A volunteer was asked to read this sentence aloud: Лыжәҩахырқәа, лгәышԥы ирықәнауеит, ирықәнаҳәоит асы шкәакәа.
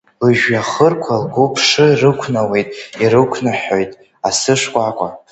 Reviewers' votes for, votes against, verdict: 1, 2, rejected